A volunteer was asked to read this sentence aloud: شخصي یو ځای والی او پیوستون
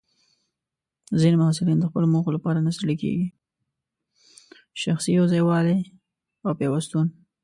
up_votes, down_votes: 0, 2